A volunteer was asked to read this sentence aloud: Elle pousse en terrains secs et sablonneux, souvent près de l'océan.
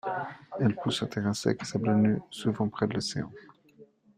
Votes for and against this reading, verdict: 0, 2, rejected